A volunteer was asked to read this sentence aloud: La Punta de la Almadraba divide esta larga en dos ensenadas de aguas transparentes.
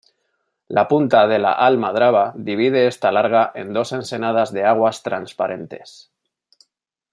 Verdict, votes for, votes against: accepted, 2, 0